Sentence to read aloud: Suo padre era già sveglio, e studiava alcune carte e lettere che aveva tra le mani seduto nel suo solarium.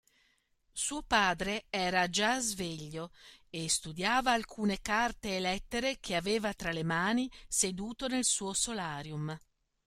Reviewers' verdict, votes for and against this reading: accepted, 2, 0